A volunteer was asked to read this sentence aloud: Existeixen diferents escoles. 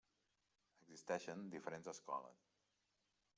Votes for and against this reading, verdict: 3, 1, accepted